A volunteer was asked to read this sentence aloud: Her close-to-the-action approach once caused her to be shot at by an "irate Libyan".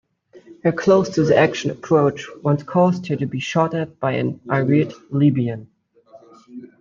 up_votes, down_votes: 2, 0